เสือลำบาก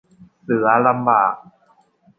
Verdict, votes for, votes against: accepted, 2, 0